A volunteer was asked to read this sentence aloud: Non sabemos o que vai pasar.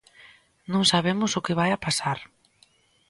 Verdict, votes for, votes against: rejected, 0, 2